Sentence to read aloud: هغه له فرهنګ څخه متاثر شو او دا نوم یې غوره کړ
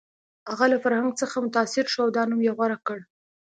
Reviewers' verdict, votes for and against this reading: accepted, 2, 0